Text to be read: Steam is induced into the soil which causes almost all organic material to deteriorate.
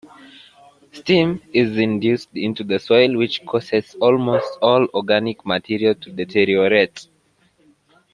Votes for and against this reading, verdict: 2, 1, accepted